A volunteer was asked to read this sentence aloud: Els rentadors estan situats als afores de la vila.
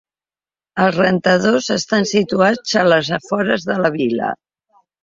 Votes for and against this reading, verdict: 0, 2, rejected